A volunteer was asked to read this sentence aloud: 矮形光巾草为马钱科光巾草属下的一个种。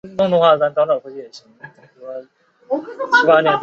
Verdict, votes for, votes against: rejected, 0, 2